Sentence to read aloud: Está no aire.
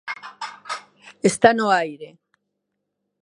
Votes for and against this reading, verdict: 2, 1, accepted